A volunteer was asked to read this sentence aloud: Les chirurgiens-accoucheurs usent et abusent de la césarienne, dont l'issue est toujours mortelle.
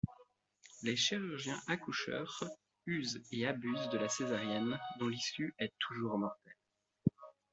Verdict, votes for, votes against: rejected, 0, 2